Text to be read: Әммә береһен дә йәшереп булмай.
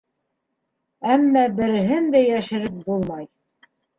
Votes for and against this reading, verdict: 3, 1, accepted